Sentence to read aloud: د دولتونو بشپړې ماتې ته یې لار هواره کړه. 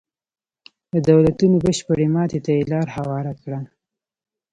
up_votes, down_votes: 2, 0